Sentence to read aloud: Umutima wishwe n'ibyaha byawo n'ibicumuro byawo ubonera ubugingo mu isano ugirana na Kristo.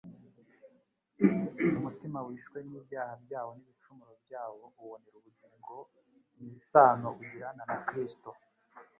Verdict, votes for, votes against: rejected, 0, 2